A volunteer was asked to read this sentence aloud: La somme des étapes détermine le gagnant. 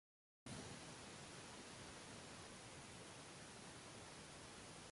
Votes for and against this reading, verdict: 1, 2, rejected